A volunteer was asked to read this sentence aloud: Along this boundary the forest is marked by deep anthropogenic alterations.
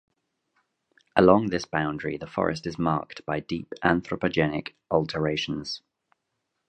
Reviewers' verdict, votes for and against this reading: accepted, 2, 0